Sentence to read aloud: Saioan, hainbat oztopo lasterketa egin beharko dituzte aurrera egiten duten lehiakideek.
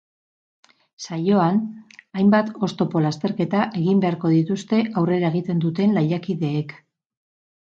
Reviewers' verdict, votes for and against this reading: rejected, 4, 4